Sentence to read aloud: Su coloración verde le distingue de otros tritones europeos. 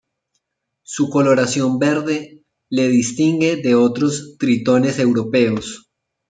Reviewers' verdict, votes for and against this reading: accepted, 2, 0